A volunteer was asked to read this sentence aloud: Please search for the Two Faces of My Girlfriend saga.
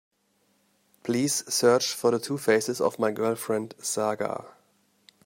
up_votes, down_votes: 2, 0